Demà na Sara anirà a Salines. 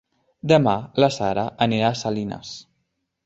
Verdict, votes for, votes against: rejected, 0, 2